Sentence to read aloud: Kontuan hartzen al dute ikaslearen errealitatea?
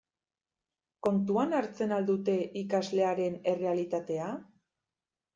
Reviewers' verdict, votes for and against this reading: accepted, 2, 0